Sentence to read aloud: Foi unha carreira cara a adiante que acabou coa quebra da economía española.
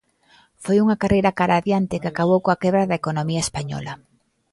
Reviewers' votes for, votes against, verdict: 2, 0, accepted